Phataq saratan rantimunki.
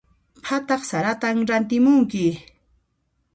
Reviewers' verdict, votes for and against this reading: accepted, 2, 0